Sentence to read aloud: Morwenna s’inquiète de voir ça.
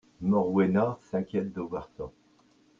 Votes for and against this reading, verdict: 2, 0, accepted